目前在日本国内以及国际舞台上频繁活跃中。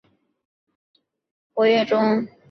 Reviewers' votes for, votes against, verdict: 1, 2, rejected